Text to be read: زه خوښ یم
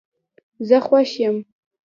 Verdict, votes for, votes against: rejected, 1, 2